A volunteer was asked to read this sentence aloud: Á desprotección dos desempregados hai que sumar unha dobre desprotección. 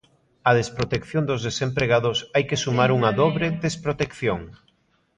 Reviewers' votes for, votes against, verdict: 2, 0, accepted